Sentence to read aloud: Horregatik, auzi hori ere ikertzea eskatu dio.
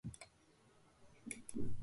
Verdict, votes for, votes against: rejected, 0, 3